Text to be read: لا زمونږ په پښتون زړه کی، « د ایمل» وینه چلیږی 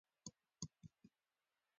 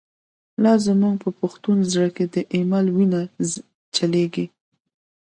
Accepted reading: second